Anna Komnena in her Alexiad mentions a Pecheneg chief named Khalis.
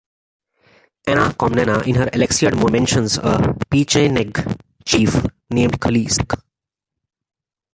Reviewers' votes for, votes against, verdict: 0, 2, rejected